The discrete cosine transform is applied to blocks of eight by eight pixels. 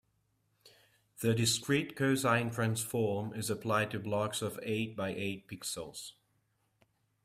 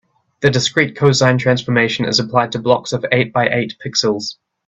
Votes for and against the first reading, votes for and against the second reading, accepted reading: 2, 0, 1, 2, first